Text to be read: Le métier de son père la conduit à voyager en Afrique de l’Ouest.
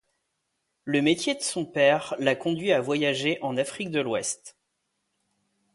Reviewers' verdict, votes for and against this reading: accepted, 2, 1